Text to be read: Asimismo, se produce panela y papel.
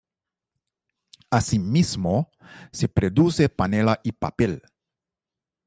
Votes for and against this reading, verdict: 1, 2, rejected